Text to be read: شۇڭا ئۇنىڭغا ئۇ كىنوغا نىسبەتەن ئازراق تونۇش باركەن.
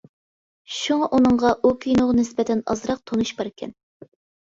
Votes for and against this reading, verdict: 2, 0, accepted